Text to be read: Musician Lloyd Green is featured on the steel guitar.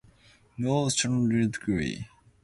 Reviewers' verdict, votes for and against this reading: rejected, 0, 2